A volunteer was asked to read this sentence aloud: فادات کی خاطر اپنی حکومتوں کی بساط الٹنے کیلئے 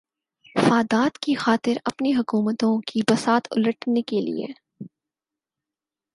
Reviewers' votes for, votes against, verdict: 4, 0, accepted